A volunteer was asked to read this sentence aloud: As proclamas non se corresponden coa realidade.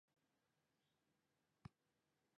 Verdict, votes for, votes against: rejected, 0, 2